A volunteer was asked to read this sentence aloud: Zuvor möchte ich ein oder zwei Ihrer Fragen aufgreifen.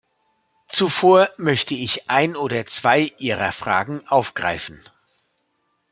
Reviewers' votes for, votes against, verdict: 2, 0, accepted